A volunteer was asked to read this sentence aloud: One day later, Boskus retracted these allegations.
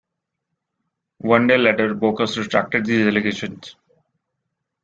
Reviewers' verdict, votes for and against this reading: accepted, 2, 1